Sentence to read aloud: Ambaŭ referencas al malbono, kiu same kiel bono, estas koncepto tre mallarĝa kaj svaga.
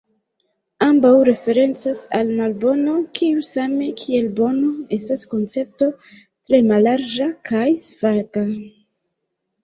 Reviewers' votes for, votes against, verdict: 0, 2, rejected